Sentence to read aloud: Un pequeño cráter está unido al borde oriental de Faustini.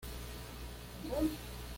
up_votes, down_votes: 1, 3